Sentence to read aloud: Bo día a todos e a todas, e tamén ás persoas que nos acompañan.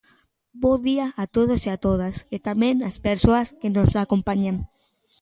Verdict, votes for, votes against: accepted, 2, 0